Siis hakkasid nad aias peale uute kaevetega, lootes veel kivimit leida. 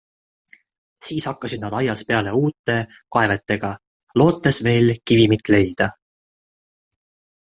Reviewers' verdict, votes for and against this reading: accepted, 2, 0